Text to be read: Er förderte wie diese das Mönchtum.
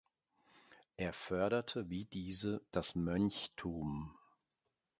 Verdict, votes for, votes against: accepted, 2, 0